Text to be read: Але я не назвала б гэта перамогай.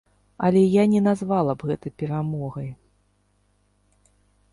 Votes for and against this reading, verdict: 2, 0, accepted